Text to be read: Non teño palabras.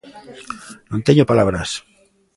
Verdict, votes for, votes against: accepted, 2, 0